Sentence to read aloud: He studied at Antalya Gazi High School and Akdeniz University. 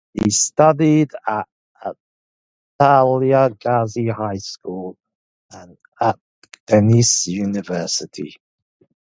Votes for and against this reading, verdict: 1, 2, rejected